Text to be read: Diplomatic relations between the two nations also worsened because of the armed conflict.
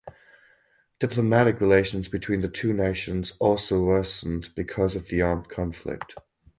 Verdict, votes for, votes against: rejected, 2, 4